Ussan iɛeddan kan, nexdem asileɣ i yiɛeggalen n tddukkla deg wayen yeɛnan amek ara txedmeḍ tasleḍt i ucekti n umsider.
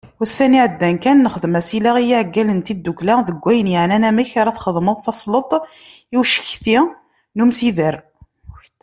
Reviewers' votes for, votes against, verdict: 2, 0, accepted